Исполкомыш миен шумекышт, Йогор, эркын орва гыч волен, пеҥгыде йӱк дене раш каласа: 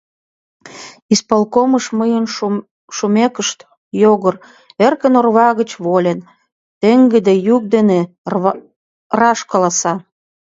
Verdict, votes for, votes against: rejected, 0, 2